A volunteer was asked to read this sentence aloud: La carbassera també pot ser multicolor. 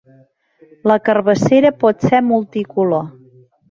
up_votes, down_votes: 0, 2